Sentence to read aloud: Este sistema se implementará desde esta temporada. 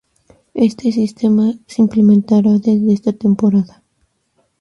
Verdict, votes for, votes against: rejected, 2, 2